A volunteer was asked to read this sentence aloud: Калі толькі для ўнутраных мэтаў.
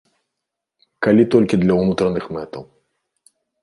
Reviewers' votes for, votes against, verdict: 2, 0, accepted